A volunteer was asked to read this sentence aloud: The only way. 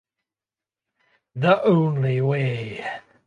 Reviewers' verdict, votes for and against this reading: rejected, 2, 2